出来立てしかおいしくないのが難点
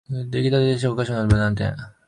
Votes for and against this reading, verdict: 0, 2, rejected